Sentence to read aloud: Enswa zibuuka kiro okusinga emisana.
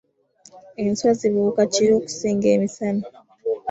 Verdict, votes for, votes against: accepted, 2, 0